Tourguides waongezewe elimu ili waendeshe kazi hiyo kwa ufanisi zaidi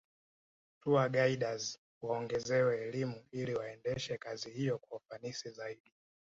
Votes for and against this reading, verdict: 2, 0, accepted